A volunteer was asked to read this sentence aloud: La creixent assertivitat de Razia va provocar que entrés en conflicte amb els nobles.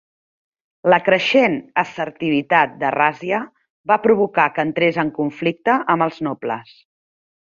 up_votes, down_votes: 2, 1